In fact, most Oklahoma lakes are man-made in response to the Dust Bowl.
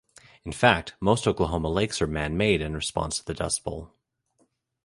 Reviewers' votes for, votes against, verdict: 2, 0, accepted